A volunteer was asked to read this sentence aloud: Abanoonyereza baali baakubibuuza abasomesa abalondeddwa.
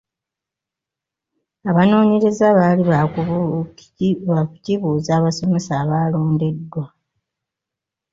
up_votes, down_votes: 1, 2